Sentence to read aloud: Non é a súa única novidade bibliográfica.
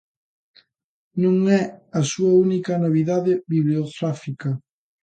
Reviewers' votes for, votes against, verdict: 0, 2, rejected